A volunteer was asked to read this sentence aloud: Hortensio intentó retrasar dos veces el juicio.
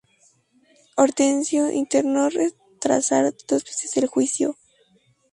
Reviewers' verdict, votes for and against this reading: rejected, 0, 2